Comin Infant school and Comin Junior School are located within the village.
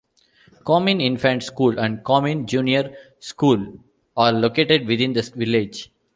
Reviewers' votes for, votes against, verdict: 2, 1, accepted